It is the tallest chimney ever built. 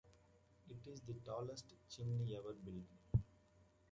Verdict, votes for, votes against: rejected, 1, 2